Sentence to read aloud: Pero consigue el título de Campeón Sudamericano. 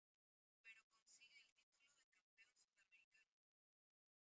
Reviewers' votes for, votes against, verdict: 0, 2, rejected